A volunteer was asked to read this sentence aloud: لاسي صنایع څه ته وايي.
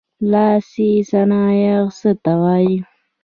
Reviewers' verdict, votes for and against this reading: accepted, 2, 0